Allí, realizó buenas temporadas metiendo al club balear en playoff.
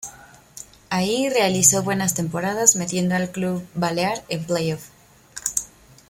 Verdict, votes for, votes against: rejected, 0, 2